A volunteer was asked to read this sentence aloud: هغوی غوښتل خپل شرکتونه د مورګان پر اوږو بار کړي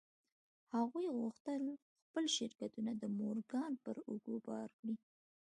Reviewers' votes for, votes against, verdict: 2, 0, accepted